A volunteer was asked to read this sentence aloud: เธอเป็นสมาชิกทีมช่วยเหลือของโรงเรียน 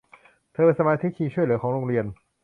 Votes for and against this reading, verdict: 0, 2, rejected